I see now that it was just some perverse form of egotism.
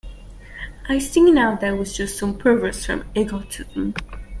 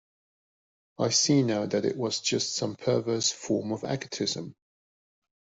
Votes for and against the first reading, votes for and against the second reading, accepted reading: 0, 2, 2, 0, second